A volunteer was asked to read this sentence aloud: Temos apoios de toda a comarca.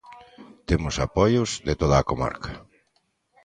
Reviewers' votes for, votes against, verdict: 2, 0, accepted